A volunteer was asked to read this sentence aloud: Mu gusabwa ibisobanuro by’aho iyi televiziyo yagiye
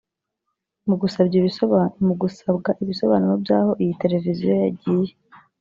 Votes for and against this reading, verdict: 0, 4, rejected